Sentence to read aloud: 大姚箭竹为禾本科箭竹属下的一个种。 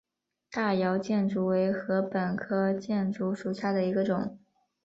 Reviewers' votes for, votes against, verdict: 1, 2, rejected